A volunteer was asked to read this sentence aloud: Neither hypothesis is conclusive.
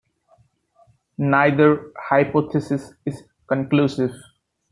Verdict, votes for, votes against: rejected, 1, 2